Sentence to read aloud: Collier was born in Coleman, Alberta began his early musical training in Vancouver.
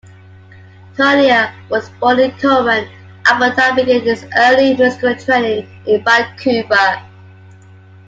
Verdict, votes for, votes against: rejected, 0, 2